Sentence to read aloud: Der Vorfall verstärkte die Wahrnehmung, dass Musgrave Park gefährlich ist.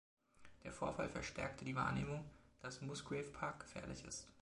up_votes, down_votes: 2, 1